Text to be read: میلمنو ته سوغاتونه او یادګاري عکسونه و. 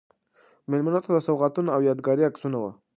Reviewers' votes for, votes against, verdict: 2, 0, accepted